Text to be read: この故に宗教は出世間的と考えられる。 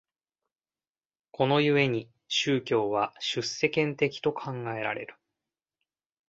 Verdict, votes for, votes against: accepted, 2, 0